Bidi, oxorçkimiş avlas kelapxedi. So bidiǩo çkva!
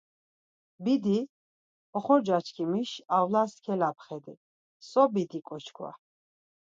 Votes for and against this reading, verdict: 2, 4, rejected